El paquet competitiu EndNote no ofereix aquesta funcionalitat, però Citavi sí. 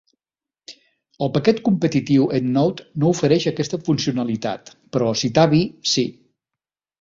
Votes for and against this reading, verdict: 3, 0, accepted